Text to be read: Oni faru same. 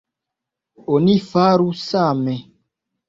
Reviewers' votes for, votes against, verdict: 2, 0, accepted